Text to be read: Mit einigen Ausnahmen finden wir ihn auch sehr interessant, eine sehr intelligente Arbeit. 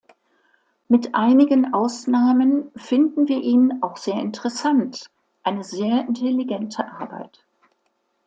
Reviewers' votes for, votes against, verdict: 2, 0, accepted